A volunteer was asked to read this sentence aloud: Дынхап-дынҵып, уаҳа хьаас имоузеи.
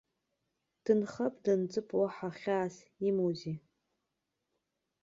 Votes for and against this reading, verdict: 2, 0, accepted